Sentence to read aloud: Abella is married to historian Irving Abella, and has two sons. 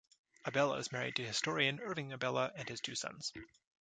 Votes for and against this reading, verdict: 0, 2, rejected